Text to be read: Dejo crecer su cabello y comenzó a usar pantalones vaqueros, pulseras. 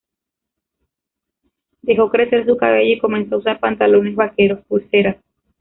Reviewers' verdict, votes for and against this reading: rejected, 0, 2